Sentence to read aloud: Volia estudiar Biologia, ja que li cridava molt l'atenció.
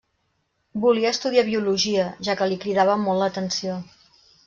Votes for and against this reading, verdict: 3, 0, accepted